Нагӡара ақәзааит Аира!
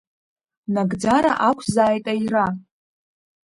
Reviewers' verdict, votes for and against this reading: rejected, 4, 5